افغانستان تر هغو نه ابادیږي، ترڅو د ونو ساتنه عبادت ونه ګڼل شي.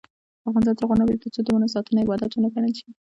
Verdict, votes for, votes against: rejected, 0, 2